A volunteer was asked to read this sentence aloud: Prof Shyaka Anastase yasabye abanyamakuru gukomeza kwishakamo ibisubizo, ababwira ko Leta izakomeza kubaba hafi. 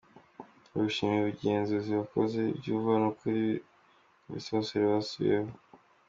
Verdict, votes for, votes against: rejected, 0, 2